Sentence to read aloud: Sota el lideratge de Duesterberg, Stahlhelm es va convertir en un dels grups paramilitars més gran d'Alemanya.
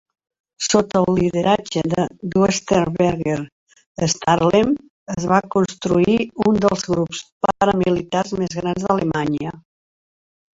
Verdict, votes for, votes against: rejected, 1, 3